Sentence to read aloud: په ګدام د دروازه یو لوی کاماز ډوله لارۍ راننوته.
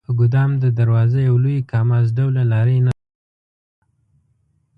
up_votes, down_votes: 0, 2